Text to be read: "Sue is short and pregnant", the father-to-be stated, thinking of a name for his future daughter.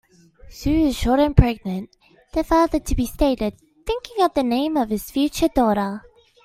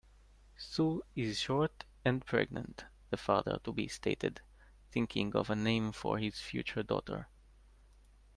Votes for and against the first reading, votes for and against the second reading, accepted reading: 0, 2, 2, 0, second